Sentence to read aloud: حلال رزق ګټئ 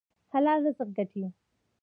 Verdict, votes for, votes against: rejected, 1, 2